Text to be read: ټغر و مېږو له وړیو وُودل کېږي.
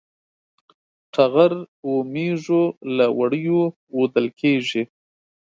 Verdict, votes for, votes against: accepted, 2, 0